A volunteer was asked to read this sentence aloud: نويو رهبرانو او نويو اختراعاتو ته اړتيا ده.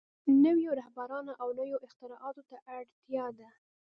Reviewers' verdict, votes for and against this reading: accepted, 2, 1